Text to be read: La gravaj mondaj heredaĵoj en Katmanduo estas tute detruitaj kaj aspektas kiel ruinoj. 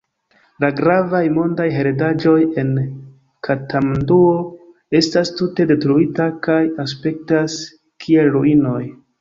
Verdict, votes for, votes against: rejected, 1, 2